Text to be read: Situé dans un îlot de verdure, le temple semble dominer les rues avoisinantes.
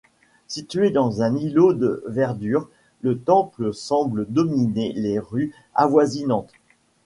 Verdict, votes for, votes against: accepted, 2, 0